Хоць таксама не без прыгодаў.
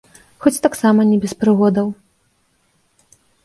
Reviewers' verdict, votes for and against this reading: accepted, 2, 0